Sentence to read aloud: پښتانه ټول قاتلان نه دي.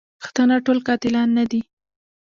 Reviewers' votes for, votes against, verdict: 0, 2, rejected